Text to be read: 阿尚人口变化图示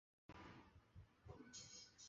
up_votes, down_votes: 0, 4